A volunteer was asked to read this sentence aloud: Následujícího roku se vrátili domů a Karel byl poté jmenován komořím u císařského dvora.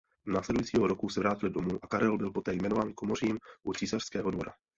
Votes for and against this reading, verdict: 0, 2, rejected